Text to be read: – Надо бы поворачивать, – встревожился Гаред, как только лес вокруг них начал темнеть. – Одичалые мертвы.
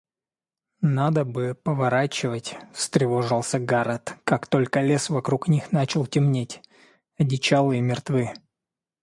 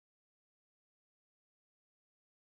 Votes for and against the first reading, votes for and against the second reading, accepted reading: 2, 0, 0, 2, first